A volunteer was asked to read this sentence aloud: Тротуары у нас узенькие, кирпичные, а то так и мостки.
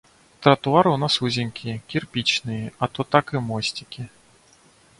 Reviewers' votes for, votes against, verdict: 0, 2, rejected